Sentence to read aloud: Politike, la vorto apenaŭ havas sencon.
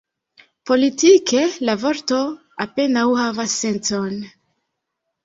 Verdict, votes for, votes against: accepted, 2, 0